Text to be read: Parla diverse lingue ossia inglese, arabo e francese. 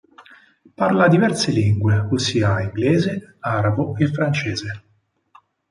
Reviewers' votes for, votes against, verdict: 4, 0, accepted